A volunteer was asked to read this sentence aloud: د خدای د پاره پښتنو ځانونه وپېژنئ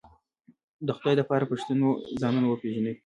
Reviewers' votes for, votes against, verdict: 2, 1, accepted